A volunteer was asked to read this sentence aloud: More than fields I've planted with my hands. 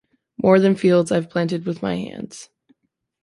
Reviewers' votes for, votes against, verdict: 2, 0, accepted